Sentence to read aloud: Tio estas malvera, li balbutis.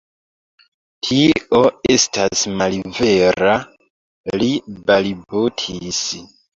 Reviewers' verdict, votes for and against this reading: rejected, 0, 2